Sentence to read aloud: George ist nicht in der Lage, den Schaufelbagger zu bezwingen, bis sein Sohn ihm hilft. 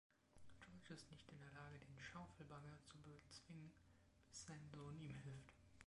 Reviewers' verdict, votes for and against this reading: rejected, 0, 2